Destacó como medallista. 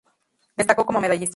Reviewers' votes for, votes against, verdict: 0, 2, rejected